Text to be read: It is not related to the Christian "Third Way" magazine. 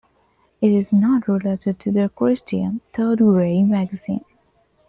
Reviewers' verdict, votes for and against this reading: accepted, 2, 1